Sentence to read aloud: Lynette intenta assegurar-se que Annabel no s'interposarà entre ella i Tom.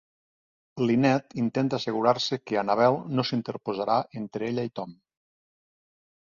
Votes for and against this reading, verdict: 2, 0, accepted